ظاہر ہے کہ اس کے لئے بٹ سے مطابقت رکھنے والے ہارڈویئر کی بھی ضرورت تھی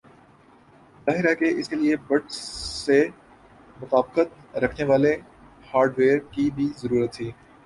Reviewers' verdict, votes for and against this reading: rejected, 0, 4